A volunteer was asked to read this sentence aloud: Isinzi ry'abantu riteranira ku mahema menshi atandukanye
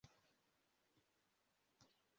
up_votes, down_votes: 0, 2